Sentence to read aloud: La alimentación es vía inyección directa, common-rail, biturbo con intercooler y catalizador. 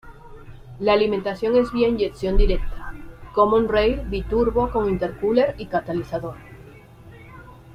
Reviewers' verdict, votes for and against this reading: accepted, 2, 0